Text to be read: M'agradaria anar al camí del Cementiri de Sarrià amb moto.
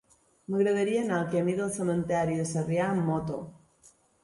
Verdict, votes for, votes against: rejected, 0, 2